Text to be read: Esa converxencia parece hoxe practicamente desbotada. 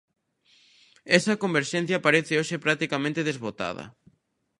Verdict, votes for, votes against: accepted, 2, 0